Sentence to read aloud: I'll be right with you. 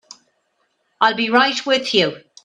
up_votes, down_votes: 1, 2